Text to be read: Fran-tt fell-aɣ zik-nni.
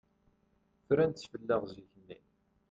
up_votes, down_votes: 2, 0